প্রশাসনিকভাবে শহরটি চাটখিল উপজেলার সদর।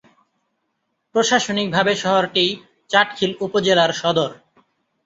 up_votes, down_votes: 2, 0